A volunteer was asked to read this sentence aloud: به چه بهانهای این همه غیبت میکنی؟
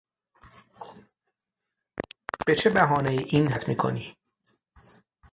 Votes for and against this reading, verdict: 0, 6, rejected